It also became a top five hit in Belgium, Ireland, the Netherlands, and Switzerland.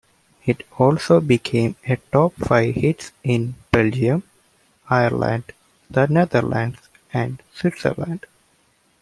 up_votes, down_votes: 0, 2